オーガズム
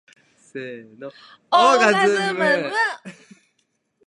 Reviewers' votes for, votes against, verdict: 0, 2, rejected